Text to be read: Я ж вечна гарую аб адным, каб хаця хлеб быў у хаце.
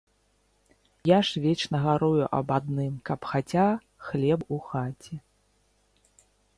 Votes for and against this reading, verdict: 0, 2, rejected